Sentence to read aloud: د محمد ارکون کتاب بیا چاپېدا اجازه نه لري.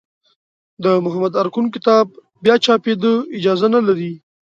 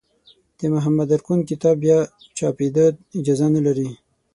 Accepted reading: first